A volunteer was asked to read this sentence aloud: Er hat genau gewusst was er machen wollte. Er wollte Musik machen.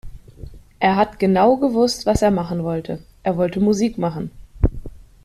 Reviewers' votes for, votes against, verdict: 2, 1, accepted